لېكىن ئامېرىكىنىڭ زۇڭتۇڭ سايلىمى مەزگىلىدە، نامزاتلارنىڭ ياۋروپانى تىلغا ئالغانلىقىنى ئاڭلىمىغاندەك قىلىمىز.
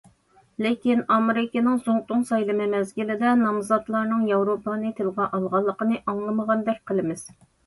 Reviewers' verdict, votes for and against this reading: accepted, 2, 0